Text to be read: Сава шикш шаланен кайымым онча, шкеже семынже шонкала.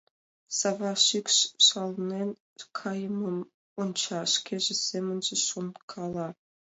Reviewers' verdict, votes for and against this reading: accepted, 2, 0